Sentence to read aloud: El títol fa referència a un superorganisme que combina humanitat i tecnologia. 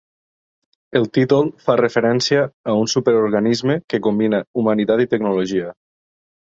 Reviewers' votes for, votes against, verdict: 3, 0, accepted